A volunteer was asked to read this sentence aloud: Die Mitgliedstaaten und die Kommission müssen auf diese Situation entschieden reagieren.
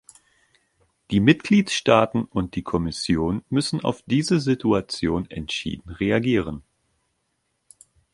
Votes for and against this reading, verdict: 2, 0, accepted